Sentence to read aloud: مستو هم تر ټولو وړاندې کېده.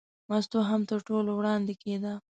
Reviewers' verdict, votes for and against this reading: accepted, 2, 0